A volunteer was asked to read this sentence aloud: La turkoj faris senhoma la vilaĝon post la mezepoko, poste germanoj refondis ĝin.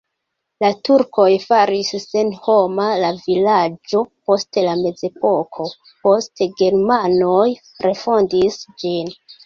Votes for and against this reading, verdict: 0, 2, rejected